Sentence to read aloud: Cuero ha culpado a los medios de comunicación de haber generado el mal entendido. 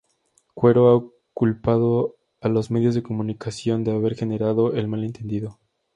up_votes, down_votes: 2, 0